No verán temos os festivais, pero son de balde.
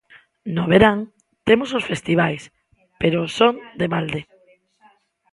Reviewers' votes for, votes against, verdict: 2, 0, accepted